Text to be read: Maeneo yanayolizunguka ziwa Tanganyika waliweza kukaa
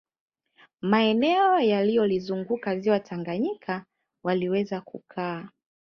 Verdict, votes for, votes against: accepted, 2, 0